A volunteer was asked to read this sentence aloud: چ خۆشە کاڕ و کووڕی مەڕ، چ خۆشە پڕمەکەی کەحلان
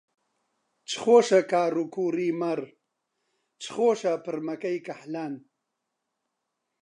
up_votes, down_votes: 2, 0